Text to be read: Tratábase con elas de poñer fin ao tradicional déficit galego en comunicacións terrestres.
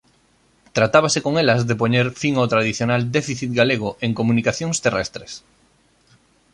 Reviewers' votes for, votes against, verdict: 2, 0, accepted